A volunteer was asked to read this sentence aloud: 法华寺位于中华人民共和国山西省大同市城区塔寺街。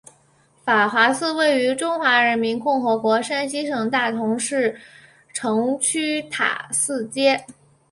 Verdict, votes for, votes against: accepted, 2, 0